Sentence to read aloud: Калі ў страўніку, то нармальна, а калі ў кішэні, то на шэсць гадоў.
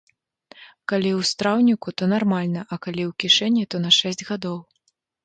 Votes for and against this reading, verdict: 2, 0, accepted